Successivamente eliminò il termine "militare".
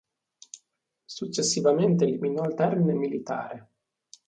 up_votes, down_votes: 2, 0